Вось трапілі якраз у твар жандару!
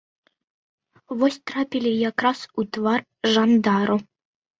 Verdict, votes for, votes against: accepted, 2, 0